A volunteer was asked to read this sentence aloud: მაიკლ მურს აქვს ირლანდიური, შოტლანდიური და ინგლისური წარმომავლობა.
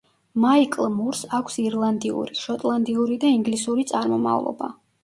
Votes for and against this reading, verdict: 2, 0, accepted